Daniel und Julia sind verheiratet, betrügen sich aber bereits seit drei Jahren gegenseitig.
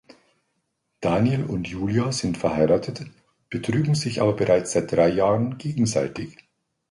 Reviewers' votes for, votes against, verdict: 2, 0, accepted